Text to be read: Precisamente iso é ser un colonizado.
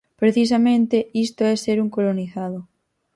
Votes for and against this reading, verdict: 0, 4, rejected